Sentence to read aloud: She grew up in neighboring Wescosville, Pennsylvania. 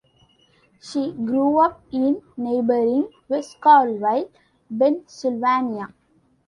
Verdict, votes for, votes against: rejected, 0, 2